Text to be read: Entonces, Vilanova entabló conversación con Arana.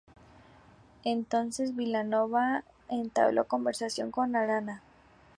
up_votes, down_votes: 2, 0